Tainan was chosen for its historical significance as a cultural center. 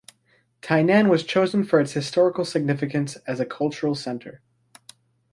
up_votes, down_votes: 2, 0